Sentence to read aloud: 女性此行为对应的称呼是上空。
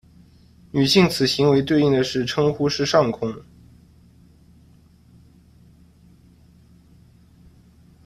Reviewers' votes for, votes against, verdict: 0, 2, rejected